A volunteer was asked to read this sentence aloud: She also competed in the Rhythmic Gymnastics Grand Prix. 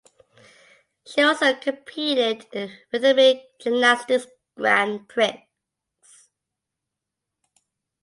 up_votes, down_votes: 1, 2